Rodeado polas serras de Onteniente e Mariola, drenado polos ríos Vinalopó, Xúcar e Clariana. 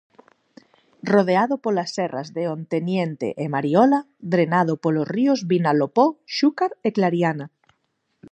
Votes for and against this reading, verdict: 4, 0, accepted